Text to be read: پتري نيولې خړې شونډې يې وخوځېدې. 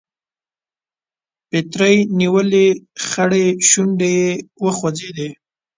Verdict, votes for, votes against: rejected, 0, 2